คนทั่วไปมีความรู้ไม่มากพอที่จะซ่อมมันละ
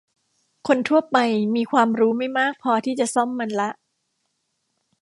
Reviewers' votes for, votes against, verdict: 1, 2, rejected